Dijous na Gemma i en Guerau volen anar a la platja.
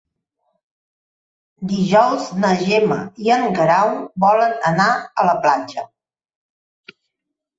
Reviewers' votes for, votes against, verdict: 3, 0, accepted